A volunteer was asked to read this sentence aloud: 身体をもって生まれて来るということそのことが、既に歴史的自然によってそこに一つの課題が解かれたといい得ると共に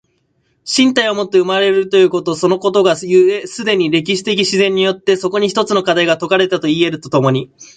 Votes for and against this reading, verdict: 1, 2, rejected